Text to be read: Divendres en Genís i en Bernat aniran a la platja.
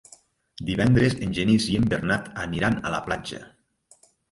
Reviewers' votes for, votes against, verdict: 0, 2, rejected